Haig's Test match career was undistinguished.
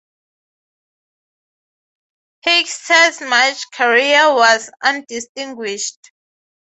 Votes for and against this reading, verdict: 3, 3, rejected